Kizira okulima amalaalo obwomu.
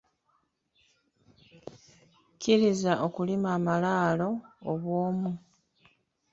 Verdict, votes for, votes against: accepted, 2, 1